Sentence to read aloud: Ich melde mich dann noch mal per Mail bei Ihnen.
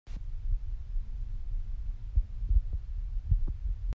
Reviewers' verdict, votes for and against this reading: rejected, 0, 2